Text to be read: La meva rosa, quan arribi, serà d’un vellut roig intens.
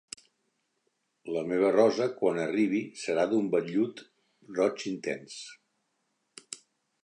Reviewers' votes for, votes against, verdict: 2, 0, accepted